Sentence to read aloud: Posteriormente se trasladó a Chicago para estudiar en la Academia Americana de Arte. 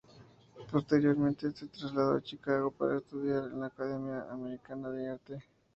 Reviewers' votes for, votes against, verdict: 0, 2, rejected